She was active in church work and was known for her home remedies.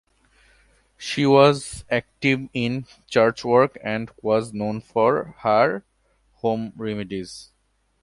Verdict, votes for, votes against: accepted, 2, 0